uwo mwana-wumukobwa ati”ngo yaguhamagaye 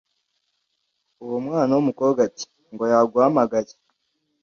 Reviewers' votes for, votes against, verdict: 2, 0, accepted